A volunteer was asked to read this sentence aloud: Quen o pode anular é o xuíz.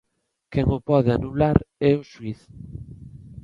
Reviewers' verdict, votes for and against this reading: accepted, 2, 0